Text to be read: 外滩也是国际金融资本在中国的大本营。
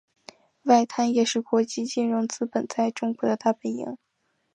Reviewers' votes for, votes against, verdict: 4, 0, accepted